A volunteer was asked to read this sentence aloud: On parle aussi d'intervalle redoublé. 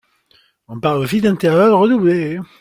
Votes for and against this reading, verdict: 2, 0, accepted